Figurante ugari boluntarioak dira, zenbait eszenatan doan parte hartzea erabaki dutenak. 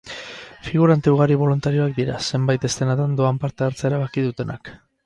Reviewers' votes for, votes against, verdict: 0, 2, rejected